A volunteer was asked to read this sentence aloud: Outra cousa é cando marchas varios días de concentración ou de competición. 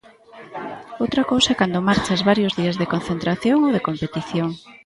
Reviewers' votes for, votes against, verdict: 1, 2, rejected